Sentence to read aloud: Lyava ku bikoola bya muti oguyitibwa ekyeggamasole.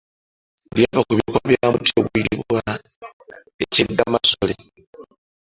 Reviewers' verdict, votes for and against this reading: accepted, 2, 1